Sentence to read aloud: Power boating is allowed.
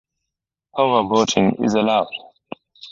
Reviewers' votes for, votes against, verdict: 0, 2, rejected